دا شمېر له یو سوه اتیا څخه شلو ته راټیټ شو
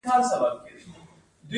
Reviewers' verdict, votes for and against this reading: rejected, 0, 2